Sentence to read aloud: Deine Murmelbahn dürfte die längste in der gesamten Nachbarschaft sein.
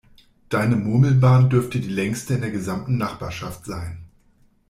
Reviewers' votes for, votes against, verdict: 2, 0, accepted